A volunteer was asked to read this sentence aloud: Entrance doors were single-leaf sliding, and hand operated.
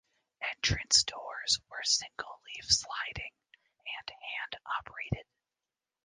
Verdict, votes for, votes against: rejected, 0, 2